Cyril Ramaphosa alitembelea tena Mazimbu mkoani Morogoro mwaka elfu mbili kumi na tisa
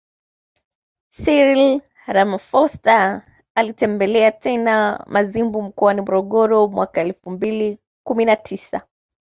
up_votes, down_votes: 2, 0